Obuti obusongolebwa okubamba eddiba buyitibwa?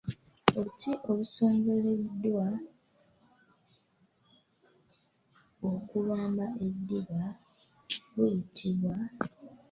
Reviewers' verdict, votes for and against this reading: rejected, 1, 2